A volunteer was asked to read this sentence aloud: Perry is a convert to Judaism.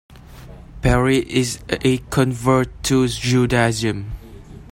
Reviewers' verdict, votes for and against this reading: accepted, 2, 1